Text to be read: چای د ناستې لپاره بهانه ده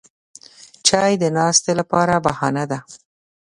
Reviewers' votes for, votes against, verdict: 2, 0, accepted